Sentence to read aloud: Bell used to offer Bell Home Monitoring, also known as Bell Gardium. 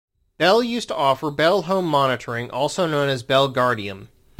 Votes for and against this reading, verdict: 3, 0, accepted